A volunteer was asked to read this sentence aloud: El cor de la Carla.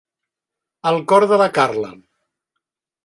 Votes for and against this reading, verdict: 3, 0, accepted